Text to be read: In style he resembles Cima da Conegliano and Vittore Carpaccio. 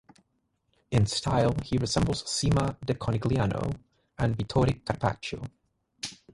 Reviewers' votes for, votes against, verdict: 3, 3, rejected